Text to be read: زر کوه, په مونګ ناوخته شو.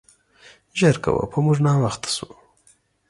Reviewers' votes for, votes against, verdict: 2, 0, accepted